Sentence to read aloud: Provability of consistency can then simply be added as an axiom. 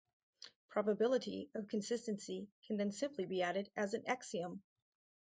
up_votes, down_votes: 2, 2